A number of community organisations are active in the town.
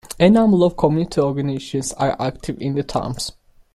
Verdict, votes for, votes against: rejected, 0, 2